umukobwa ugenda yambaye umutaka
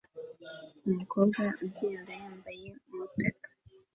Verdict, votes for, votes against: rejected, 1, 2